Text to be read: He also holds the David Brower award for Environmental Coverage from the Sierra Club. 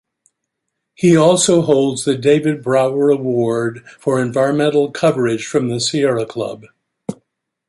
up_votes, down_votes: 2, 0